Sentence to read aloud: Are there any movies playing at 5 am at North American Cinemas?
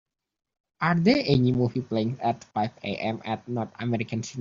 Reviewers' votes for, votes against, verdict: 0, 2, rejected